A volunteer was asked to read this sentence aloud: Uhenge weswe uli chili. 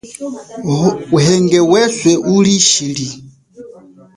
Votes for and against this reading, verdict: 1, 2, rejected